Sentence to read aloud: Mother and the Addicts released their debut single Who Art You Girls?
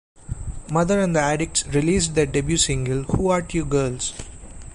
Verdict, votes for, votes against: accepted, 2, 0